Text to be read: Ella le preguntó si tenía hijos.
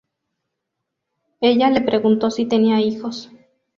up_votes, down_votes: 2, 0